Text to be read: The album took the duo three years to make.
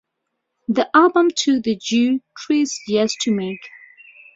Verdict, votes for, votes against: rejected, 0, 2